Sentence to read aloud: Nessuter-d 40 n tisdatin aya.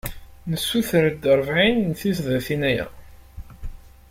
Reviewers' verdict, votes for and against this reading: rejected, 0, 2